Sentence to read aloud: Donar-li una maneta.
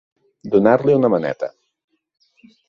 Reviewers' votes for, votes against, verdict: 2, 0, accepted